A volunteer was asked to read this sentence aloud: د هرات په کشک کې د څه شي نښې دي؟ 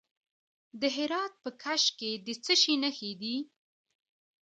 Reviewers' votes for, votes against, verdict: 2, 0, accepted